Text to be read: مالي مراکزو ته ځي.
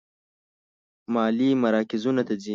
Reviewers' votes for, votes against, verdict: 1, 2, rejected